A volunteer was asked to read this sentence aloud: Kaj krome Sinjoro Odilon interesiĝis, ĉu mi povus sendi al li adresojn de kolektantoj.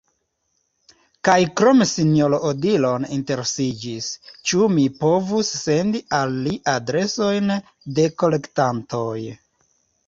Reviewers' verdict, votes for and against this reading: accepted, 2, 0